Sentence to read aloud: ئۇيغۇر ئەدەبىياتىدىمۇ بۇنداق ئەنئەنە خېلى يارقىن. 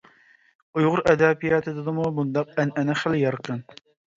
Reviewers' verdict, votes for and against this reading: accepted, 2, 0